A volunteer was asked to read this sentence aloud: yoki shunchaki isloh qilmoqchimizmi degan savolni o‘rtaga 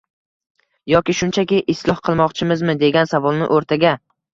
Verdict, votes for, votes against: accepted, 2, 0